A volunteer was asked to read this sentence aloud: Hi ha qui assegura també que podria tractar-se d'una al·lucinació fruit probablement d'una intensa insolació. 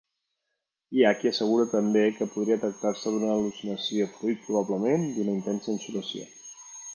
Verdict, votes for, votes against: accepted, 3, 2